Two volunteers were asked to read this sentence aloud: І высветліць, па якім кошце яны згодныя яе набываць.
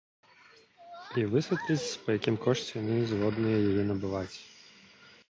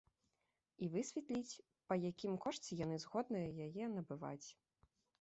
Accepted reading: second